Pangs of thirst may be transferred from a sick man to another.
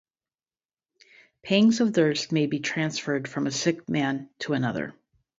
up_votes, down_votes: 2, 2